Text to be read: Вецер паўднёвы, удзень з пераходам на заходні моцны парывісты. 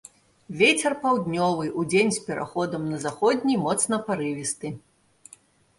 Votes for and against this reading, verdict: 2, 1, accepted